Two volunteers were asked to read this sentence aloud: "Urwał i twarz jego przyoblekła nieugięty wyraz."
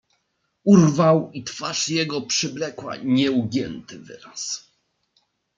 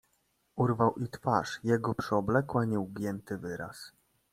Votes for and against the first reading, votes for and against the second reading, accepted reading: 1, 2, 2, 0, second